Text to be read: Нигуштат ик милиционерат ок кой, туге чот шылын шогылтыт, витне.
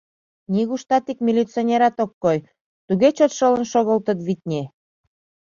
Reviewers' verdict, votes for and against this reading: accepted, 2, 0